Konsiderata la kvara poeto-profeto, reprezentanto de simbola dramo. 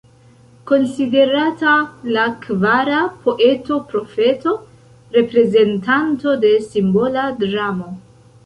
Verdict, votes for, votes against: accepted, 2, 0